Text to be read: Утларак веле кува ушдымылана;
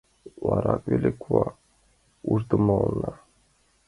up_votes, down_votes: 0, 2